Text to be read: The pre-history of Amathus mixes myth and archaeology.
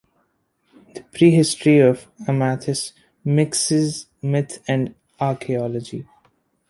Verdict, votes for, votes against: accepted, 2, 0